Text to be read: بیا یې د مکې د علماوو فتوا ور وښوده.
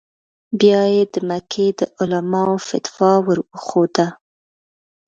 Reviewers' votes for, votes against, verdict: 0, 2, rejected